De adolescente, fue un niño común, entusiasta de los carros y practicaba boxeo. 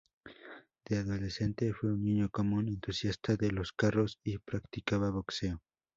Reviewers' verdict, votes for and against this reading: accepted, 2, 0